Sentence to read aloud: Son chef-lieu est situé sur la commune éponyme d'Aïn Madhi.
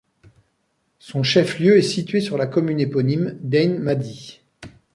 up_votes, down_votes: 1, 2